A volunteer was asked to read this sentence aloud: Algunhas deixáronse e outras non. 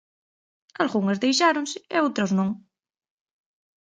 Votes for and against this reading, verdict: 2, 0, accepted